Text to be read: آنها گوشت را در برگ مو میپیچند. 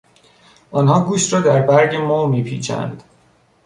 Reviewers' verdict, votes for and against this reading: accepted, 2, 0